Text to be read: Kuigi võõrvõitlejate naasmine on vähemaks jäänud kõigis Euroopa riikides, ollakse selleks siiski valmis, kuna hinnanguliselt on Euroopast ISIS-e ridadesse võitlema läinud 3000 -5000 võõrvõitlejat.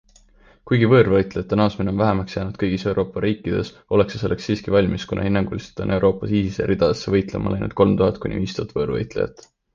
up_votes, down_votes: 0, 2